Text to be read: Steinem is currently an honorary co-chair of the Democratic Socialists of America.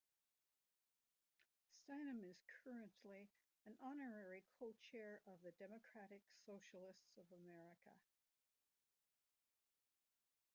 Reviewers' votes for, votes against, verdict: 0, 2, rejected